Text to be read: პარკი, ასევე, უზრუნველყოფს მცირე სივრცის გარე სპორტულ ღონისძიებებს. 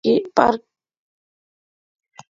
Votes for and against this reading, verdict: 0, 2, rejected